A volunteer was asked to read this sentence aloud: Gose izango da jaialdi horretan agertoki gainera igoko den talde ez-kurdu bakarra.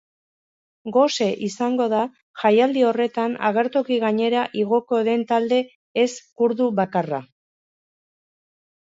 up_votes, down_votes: 2, 0